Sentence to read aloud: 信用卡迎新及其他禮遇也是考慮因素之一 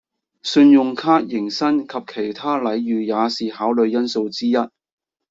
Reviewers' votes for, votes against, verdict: 2, 0, accepted